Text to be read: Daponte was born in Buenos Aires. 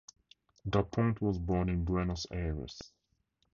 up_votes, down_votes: 2, 0